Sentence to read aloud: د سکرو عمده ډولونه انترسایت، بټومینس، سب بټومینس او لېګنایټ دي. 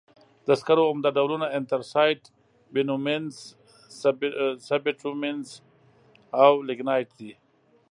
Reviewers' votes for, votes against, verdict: 2, 1, accepted